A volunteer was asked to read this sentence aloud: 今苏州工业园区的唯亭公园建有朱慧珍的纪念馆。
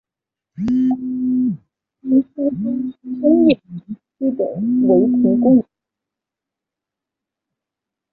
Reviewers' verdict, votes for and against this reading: rejected, 0, 5